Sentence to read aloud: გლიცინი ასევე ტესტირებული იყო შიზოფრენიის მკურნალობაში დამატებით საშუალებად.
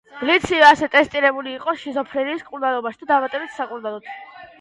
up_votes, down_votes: 0, 2